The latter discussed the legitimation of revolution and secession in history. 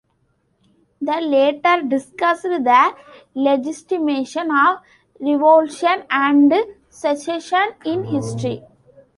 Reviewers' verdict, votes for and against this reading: rejected, 0, 2